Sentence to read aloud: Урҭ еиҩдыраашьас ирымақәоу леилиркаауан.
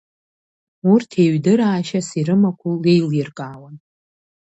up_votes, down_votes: 0, 2